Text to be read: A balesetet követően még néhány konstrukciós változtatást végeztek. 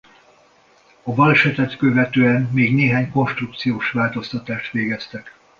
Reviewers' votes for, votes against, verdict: 2, 0, accepted